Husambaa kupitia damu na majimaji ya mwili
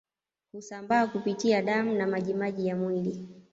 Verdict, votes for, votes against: accepted, 2, 1